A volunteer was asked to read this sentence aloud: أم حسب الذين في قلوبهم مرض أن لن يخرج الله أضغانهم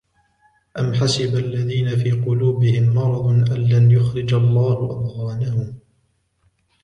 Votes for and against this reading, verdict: 2, 1, accepted